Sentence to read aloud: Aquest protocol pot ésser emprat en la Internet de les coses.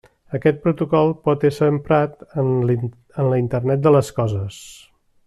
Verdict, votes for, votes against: rejected, 0, 2